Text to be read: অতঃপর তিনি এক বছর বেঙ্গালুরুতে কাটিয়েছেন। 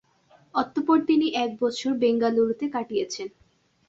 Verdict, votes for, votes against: accepted, 2, 0